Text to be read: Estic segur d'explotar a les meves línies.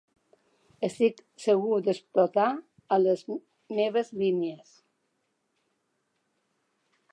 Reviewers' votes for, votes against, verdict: 1, 2, rejected